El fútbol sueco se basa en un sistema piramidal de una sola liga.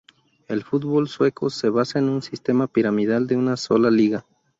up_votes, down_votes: 2, 0